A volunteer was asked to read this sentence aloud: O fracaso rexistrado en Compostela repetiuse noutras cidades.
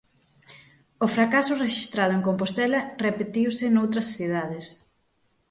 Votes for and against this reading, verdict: 6, 0, accepted